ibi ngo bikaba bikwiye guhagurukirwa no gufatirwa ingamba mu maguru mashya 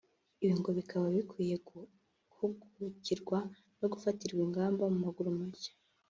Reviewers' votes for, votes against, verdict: 1, 2, rejected